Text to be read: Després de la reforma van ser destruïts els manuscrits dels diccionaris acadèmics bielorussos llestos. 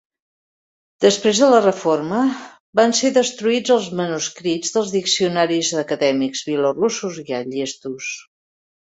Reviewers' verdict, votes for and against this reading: rejected, 0, 2